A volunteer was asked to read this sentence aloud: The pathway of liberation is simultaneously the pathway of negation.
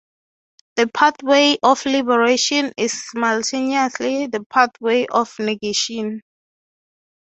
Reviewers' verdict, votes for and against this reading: accepted, 3, 0